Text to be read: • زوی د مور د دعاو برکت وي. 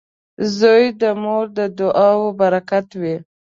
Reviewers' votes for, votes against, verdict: 2, 0, accepted